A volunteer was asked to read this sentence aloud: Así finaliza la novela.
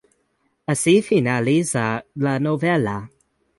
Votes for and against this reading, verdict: 2, 0, accepted